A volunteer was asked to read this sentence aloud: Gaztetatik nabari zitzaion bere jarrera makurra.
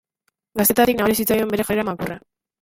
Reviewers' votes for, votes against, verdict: 0, 2, rejected